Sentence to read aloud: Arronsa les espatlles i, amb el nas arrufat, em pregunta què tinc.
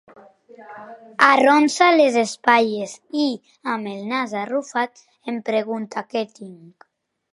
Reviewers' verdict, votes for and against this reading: accepted, 3, 0